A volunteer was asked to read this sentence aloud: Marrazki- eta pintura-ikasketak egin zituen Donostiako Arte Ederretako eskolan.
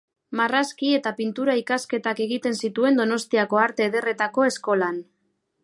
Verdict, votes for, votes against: rejected, 1, 2